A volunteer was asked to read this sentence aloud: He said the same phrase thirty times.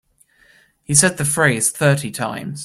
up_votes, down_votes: 0, 2